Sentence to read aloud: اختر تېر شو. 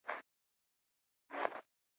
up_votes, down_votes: 0, 2